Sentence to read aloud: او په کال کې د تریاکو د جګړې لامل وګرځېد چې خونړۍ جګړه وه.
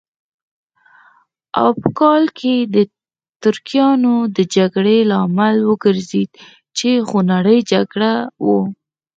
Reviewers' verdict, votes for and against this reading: rejected, 2, 6